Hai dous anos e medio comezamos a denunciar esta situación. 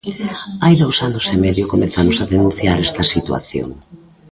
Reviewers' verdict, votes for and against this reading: accepted, 2, 1